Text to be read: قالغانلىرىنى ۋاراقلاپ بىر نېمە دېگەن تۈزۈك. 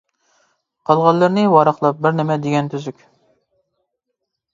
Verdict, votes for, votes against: accepted, 2, 0